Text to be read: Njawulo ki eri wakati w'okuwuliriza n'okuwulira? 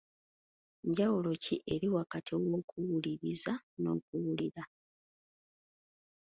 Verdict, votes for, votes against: accepted, 2, 0